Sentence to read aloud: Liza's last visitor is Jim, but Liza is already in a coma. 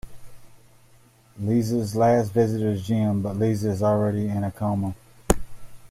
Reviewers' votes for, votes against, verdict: 0, 2, rejected